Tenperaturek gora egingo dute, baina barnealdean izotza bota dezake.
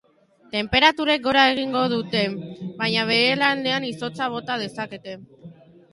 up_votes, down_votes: 0, 2